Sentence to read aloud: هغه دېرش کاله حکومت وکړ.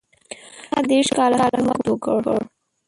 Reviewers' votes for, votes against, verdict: 1, 2, rejected